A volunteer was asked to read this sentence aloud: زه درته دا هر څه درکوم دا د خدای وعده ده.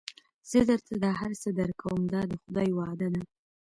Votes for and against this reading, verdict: 2, 0, accepted